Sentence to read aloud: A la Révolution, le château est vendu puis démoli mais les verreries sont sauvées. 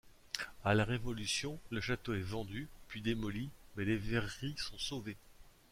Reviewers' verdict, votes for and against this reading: accepted, 2, 0